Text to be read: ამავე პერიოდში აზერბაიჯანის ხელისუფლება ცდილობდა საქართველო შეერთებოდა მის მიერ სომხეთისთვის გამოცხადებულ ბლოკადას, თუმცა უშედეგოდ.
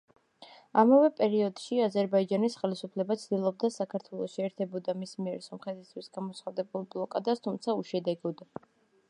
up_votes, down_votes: 2, 0